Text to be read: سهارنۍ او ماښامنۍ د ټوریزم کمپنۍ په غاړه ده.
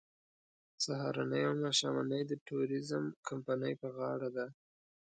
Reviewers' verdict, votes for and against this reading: accepted, 3, 0